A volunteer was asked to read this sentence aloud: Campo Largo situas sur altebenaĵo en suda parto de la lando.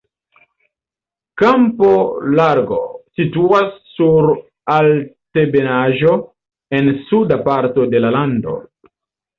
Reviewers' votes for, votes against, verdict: 1, 2, rejected